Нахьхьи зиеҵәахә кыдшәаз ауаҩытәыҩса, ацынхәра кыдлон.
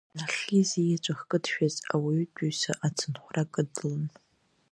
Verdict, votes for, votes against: rejected, 0, 2